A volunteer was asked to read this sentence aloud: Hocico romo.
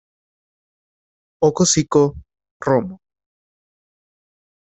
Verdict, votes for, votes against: rejected, 1, 2